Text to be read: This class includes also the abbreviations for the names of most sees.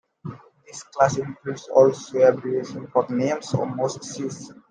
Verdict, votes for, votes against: accepted, 2, 0